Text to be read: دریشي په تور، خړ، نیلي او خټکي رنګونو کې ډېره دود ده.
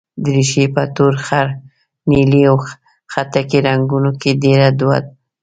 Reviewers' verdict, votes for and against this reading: rejected, 0, 2